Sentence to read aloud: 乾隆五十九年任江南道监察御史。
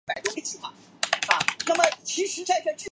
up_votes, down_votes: 1, 4